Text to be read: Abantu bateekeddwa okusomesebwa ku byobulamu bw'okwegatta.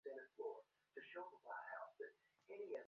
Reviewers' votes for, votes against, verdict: 0, 2, rejected